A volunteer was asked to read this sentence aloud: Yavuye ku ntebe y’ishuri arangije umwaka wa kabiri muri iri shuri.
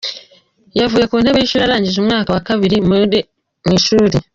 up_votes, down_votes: 1, 2